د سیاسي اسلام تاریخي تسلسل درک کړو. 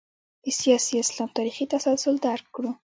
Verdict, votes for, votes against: rejected, 1, 2